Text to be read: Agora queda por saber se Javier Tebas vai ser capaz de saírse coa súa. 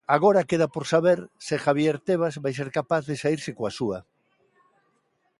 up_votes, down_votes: 2, 0